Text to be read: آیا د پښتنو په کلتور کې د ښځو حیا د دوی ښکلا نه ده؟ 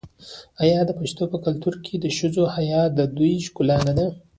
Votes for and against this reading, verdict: 1, 2, rejected